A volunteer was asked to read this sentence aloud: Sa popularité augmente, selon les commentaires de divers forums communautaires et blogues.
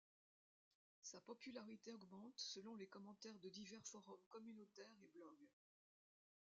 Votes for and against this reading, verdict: 0, 2, rejected